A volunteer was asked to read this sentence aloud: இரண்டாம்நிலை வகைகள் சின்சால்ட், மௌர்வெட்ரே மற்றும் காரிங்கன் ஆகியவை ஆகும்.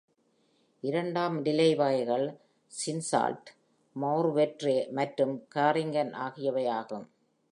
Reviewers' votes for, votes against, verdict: 2, 0, accepted